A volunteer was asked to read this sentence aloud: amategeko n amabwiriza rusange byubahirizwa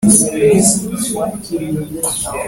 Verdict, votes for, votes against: rejected, 0, 2